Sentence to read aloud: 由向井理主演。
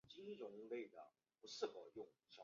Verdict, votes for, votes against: rejected, 0, 2